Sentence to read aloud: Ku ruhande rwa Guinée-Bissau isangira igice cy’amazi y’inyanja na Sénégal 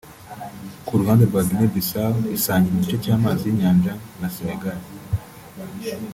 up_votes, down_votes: 2, 0